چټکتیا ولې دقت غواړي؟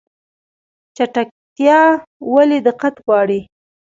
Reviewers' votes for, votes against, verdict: 1, 2, rejected